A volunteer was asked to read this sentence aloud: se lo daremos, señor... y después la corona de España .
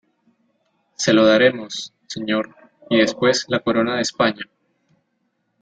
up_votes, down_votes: 2, 1